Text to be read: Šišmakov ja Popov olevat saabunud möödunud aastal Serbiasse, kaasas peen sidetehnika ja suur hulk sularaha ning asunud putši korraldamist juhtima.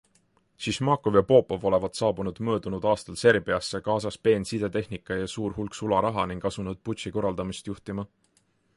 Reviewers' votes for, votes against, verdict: 2, 0, accepted